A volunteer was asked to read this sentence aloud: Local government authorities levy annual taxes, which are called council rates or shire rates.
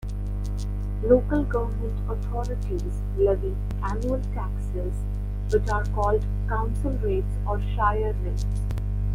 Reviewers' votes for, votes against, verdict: 1, 2, rejected